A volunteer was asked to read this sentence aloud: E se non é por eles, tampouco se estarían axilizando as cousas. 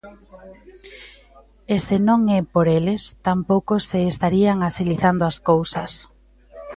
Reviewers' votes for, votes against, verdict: 2, 0, accepted